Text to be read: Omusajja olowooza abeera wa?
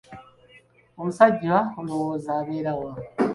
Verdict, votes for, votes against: accepted, 2, 1